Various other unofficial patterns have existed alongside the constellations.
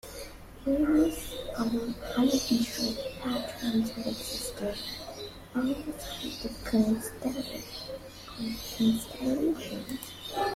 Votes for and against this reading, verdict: 0, 2, rejected